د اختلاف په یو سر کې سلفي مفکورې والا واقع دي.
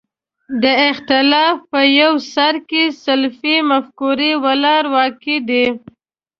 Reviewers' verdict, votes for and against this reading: rejected, 1, 2